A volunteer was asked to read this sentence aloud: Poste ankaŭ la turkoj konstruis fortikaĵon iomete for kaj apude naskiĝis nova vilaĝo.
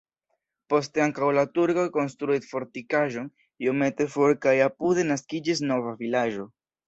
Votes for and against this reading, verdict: 1, 2, rejected